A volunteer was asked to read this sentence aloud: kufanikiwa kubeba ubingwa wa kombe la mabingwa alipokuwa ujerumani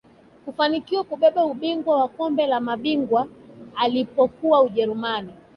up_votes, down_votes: 3, 1